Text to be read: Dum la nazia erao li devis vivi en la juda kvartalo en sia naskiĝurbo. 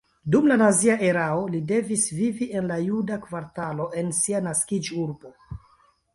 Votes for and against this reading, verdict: 2, 1, accepted